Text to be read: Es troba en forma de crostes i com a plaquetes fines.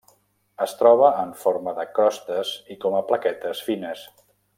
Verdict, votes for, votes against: rejected, 1, 2